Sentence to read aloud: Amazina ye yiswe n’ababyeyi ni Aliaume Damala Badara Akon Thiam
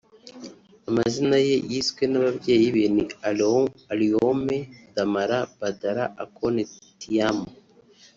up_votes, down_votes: 0, 3